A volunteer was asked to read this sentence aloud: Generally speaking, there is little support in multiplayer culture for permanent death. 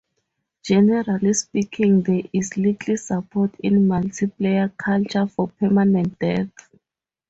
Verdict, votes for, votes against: rejected, 0, 4